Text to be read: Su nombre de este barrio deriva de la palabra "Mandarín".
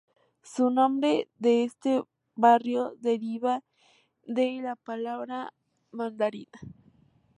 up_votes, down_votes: 2, 0